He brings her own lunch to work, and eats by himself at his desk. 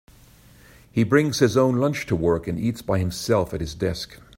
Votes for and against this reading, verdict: 0, 2, rejected